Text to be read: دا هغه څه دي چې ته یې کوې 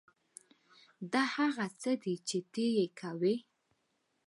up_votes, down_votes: 2, 1